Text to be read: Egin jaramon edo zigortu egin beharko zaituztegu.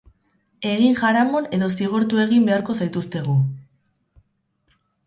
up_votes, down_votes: 2, 2